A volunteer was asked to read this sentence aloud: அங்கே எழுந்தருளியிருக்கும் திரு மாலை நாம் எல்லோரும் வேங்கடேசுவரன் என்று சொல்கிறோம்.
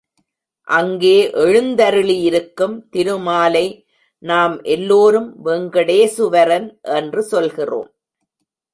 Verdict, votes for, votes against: accepted, 2, 1